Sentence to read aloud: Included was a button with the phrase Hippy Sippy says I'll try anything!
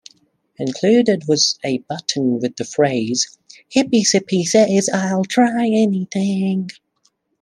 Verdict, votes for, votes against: accepted, 2, 0